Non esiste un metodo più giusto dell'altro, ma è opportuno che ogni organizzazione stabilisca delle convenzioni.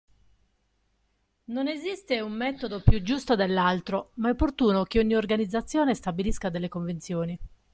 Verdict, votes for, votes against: accepted, 2, 0